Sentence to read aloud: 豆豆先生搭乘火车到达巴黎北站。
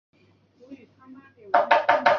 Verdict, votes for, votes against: rejected, 0, 2